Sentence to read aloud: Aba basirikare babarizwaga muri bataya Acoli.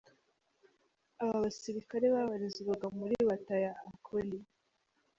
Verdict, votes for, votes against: rejected, 0, 2